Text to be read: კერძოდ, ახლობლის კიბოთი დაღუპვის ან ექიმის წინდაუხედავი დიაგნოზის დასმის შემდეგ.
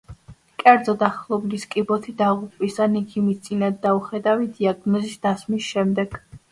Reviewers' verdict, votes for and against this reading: accepted, 2, 0